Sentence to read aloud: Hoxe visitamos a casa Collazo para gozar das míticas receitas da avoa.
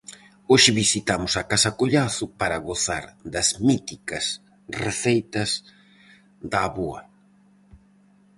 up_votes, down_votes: 4, 0